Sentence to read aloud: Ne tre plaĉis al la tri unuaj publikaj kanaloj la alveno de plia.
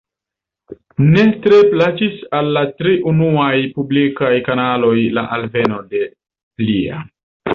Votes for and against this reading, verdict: 2, 0, accepted